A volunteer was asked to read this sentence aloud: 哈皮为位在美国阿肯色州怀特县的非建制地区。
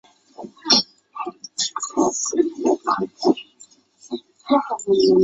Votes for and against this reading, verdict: 0, 2, rejected